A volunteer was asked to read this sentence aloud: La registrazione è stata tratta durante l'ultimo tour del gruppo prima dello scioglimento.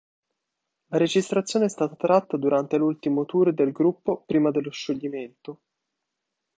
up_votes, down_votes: 2, 0